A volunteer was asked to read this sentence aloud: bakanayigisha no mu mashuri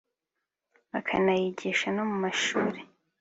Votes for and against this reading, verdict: 4, 0, accepted